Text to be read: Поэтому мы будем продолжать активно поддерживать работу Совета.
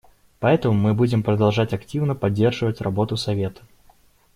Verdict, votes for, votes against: rejected, 1, 2